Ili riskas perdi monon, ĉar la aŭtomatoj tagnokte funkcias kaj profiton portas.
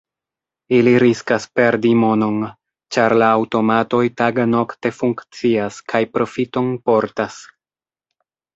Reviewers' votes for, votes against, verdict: 2, 0, accepted